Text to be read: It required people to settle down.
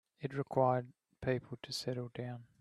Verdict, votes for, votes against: rejected, 1, 2